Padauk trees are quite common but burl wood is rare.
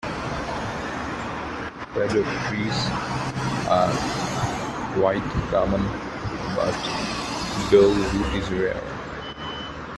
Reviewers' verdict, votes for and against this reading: rejected, 0, 2